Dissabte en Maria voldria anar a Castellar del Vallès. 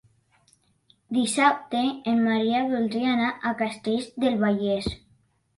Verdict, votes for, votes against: rejected, 0, 2